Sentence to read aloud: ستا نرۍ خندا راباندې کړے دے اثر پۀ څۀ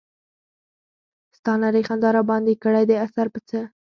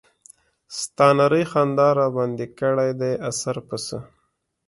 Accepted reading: second